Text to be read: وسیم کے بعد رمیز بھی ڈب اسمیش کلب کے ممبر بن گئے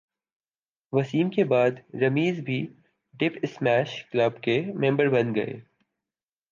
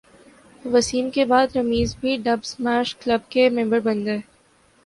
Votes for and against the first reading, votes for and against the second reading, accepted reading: 0, 2, 2, 0, second